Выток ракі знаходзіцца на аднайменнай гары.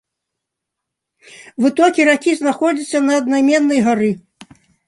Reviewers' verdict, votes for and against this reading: rejected, 1, 2